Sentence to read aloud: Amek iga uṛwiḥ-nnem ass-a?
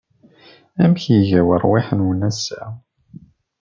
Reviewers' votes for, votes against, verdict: 0, 2, rejected